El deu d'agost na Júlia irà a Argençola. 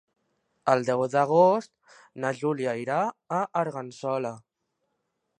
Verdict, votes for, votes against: rejected, 1, 2